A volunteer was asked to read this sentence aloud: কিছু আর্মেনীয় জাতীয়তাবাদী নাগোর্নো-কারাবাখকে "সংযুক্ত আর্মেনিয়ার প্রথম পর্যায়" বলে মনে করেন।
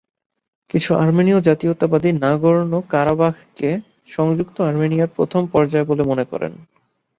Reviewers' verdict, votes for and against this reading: accepted, 2, 0